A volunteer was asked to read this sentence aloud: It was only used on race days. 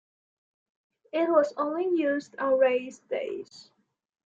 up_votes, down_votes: 2, 0